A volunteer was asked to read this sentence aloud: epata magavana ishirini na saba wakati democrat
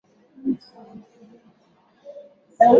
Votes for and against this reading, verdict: 0, 4, rejected